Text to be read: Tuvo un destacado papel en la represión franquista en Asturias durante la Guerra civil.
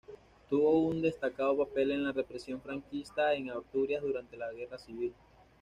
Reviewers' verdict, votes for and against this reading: accepted, 2, 0